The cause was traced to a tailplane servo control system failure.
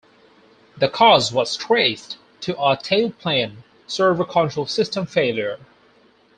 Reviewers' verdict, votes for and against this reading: accepted, 4, 0